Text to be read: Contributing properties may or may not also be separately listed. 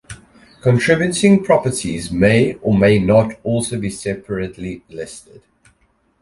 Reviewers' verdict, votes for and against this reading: accepted, 2, 0